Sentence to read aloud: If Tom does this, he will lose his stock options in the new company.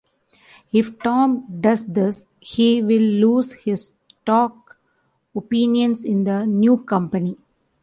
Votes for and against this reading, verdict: 0, 2, rejected